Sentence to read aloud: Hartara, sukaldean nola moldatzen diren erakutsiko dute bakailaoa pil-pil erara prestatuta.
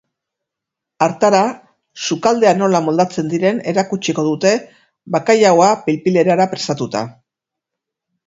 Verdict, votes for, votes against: accepted, 6, 0